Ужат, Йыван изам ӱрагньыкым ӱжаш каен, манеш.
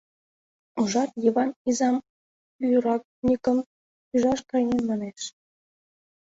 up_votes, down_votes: 0, 2